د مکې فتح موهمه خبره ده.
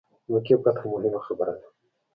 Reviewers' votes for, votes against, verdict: 2, 0, accepted